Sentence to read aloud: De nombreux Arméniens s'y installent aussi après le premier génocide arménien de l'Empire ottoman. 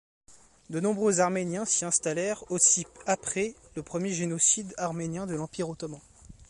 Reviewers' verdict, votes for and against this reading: rejected, 0, 3